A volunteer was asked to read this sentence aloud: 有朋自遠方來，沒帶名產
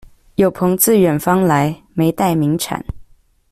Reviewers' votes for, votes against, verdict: 2, 0, accepted